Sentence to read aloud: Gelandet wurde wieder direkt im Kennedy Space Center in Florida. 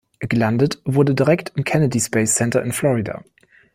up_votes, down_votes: 2, 0